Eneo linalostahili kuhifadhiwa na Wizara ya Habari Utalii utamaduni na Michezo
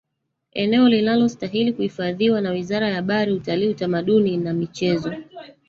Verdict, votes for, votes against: rejected, 1, 2